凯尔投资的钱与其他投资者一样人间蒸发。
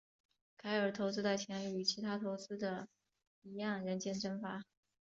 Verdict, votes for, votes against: accepted, 3, 1